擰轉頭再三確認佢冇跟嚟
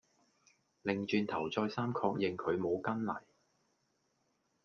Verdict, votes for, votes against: accepted, 2, 0